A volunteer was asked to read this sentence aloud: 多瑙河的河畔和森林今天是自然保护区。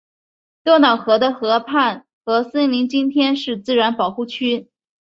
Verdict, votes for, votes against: accepted, 2, 0